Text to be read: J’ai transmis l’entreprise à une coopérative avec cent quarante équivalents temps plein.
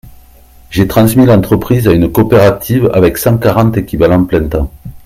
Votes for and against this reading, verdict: 0, 2, rejected